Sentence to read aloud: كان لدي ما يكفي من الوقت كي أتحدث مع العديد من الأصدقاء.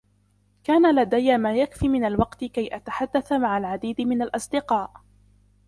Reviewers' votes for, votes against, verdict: 0, 2, rejected